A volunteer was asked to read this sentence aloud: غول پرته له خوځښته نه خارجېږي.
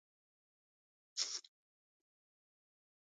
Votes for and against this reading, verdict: 1, 4, rejected